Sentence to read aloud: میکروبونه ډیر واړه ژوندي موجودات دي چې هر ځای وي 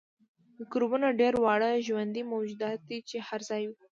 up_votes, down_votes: 2, 0